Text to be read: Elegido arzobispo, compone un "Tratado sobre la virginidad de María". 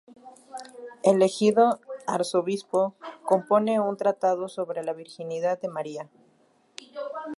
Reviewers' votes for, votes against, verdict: 0, 2, rejected